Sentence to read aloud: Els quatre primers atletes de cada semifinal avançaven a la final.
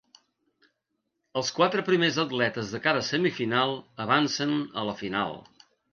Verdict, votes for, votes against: rejected, 1, 2